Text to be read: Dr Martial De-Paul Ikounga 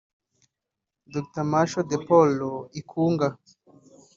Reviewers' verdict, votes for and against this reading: accepted, 2, 0